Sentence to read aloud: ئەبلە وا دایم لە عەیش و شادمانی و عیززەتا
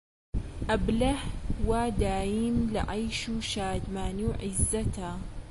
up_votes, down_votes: 2, 1